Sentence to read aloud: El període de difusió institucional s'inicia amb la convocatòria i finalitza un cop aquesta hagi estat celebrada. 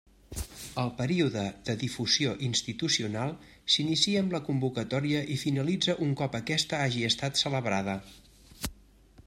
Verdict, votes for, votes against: accepted, 3, 0